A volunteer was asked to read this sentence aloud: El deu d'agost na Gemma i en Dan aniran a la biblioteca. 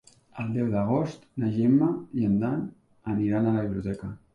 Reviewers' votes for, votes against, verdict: 2, 0, accepted